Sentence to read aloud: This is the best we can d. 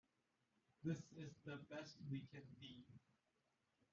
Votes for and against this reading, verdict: 1, 2, rejected